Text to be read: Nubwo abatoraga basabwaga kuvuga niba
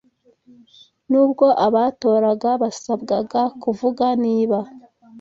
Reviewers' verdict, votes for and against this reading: accepted, 2, 0